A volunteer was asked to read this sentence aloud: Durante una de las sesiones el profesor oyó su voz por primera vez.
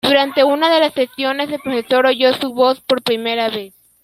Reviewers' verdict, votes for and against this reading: accepted, 2, 0